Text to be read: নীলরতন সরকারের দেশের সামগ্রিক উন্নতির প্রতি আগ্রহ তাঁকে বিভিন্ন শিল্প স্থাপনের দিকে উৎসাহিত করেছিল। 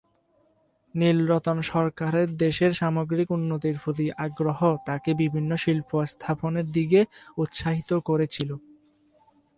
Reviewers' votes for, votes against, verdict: 4, 12, rejected